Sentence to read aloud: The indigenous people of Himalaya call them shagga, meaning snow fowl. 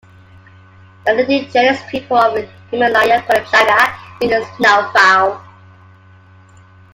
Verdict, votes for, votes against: rejected, 0, 2